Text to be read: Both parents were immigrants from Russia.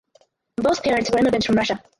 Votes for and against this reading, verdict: 0, 4, rejected